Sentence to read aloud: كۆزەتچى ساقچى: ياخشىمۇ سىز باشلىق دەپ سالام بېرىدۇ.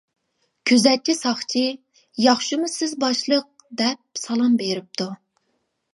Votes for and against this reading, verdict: 0, 2, rejected